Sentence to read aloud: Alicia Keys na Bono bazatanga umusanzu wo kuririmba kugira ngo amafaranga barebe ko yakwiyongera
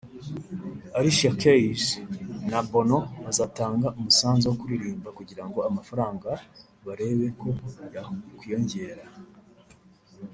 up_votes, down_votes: 2, 1